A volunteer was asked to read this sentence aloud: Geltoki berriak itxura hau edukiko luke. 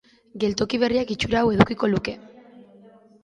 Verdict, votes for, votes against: accepted, 2, 0